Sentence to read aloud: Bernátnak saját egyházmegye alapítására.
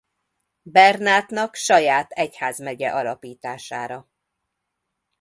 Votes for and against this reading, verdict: 2, 0, accepted